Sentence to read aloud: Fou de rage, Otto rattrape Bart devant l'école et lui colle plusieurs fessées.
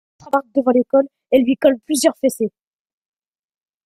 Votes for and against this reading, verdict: 0, 2, rejected